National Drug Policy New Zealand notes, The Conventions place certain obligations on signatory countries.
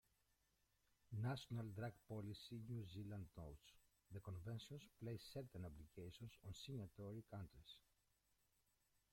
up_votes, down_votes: 0, 2